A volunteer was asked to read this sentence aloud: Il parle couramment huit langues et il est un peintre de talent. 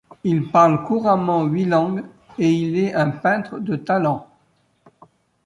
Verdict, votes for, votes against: accepted, 2, 0